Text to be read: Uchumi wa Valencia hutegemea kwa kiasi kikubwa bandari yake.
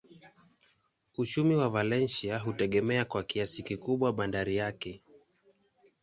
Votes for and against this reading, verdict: 2, 0, accepted